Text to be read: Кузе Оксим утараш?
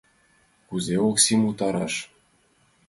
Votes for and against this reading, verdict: 2, 0, accepted